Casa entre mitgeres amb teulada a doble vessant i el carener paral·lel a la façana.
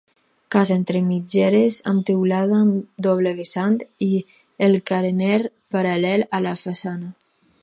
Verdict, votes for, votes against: rejected, 0, 4